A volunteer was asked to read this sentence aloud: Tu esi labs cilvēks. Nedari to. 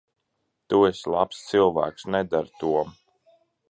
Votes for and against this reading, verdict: 2, 0, accepted